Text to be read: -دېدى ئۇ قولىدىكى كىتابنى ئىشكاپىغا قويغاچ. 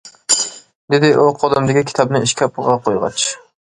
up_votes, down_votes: 1, 2